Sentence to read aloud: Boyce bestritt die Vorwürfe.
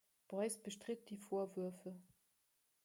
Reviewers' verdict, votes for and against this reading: accepted, 2, 0